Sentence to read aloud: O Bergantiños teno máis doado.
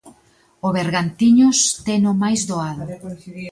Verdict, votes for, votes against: rejected, 0, 2